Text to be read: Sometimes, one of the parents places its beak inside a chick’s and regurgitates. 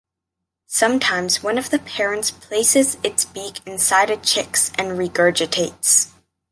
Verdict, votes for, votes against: accepted, 2, 0